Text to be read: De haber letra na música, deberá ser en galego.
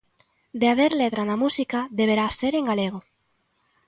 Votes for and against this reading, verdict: 2, 0, accepted